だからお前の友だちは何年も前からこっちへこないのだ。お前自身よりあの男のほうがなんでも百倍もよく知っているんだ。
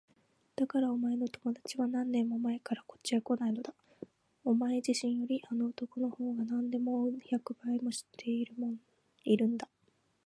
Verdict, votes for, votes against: accepted, 2, 0